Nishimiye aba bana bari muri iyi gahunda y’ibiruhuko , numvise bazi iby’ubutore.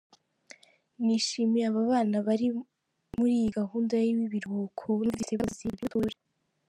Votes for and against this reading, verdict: 0, 2, rejected